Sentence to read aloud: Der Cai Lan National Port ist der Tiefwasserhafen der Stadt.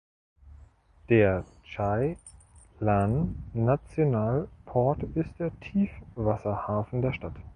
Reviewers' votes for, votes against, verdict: 0, 2, rejected